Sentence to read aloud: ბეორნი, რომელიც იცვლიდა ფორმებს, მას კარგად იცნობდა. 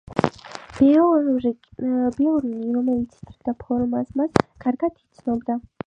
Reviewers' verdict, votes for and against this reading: rejected, 4, 6